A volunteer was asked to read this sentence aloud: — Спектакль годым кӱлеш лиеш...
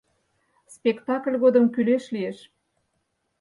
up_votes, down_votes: 4, 0